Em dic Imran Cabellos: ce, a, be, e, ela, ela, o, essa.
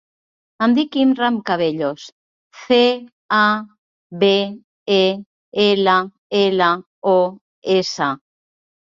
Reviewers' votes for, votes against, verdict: 0, 2, rejected